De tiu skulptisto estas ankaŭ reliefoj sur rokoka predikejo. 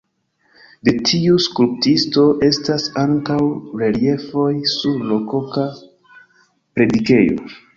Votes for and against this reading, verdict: 1, 2, rejected